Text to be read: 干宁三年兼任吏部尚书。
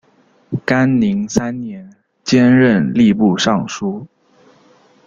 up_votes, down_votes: 1, 2